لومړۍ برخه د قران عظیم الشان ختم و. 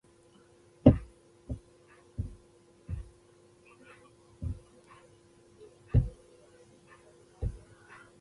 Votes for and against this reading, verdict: 0, 2, rejected